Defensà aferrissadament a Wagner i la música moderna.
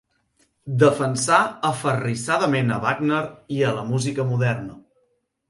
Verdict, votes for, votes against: rejected, 2, 4